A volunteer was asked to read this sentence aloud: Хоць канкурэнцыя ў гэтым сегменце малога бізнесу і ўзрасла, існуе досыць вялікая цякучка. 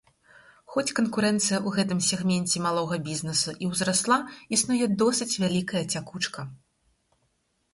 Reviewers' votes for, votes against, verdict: 4, 0, accepted